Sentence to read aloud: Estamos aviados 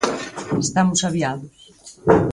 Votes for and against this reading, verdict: 4, 0, accepted